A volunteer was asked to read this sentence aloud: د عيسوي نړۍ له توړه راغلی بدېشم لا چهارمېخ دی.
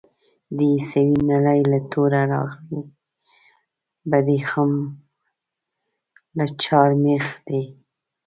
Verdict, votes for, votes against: rejected, 1, 2